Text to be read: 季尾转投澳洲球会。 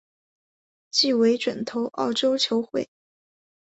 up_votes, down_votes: 3, 1